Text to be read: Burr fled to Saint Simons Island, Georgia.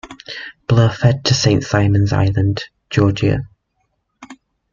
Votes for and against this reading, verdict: 0, 2, rejected